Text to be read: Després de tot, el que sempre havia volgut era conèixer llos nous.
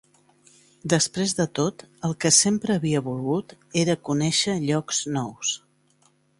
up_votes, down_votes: 2, 1